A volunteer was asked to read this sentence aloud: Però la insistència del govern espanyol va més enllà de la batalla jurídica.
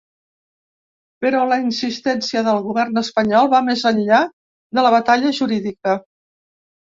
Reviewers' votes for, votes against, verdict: 3, 0, accepted